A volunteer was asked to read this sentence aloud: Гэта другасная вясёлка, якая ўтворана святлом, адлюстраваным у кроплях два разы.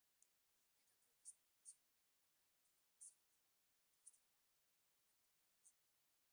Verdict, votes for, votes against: rejected, 0, 2